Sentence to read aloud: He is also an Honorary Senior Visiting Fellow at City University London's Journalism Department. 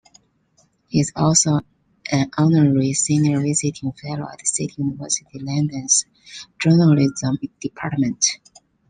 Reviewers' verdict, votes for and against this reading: rejected, 0, 3